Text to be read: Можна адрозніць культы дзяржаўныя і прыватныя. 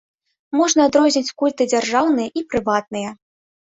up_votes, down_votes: 2, 0